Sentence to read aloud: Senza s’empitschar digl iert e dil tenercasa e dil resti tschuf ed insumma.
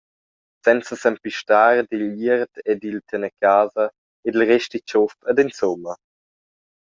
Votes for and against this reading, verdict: 0, 2, rejected